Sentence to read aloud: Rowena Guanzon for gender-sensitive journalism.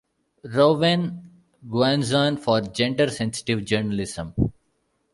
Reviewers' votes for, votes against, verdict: 0, 2, rejected